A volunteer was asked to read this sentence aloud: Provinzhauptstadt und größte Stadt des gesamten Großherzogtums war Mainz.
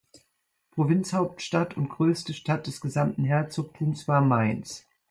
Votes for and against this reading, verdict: 0, 2, rejected